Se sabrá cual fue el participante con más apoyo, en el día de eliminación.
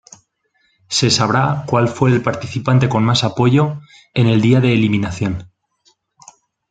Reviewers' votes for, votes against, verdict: 2, 0, accepted